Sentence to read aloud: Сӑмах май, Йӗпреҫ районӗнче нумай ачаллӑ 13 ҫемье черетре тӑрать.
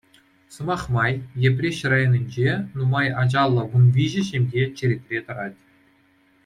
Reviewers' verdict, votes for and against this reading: rejected, 0, 2